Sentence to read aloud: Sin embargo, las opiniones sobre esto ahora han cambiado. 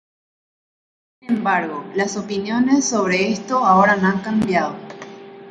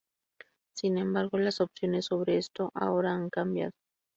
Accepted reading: second